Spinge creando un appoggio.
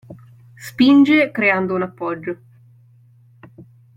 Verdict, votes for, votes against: accepted, 2, 0